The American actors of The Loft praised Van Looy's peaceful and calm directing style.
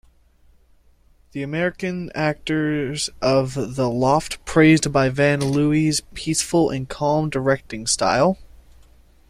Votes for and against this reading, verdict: 0, 2, rejected